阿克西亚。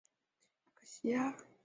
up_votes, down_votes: 0, 2